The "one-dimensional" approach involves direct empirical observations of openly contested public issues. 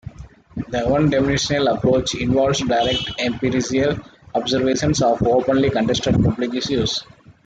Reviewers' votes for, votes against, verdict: 1, 2, rejected